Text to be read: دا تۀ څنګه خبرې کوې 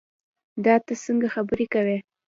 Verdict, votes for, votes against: rejected, 1, 2